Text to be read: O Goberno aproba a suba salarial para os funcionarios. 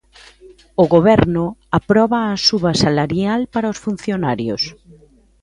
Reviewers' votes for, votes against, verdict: 2, 0, accepted